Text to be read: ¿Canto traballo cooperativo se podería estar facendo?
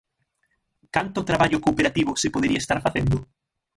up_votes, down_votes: 6, 0